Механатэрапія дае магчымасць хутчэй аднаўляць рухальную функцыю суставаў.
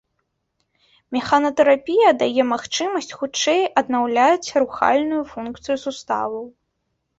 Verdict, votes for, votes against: rejected, 0, 2